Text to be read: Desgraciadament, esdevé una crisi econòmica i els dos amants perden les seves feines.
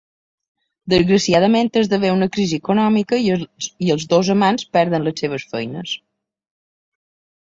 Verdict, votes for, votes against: rejected, 0, 2